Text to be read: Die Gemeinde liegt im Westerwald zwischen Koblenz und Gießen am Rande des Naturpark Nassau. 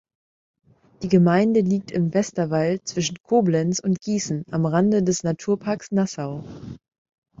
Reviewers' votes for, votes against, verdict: 2, 0, accepted